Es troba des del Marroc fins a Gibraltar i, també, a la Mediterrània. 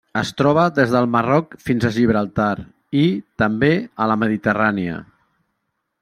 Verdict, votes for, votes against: accepted, 3, 0